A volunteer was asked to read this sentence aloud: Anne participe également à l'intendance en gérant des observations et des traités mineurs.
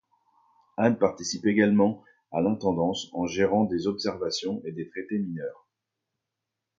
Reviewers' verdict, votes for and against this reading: accepted, 2, 0